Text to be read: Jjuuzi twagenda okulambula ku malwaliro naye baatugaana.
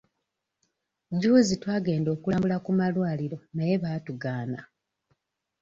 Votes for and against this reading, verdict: 2, 0, accepted